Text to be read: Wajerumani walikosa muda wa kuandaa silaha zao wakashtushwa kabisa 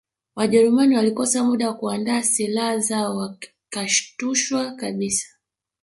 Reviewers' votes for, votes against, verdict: 0, 2, rejected